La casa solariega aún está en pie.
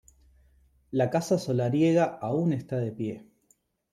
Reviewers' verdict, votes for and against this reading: rejected, 1, 2